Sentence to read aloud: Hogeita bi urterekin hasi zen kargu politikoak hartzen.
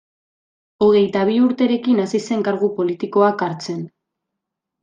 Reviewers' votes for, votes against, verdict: 2, 0, accepted